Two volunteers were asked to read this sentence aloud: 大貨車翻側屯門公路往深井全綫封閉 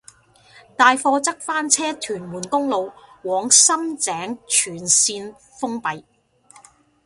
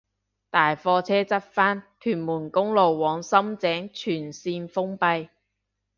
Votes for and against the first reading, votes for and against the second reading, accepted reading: 0, 2, 2, 1, second